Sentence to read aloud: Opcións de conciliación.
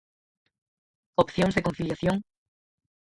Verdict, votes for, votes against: rejected, 0, 4